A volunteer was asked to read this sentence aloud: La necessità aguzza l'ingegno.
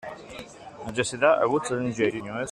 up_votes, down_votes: 1, 2